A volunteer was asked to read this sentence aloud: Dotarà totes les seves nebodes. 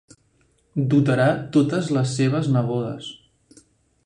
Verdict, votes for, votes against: accepted, 3, 0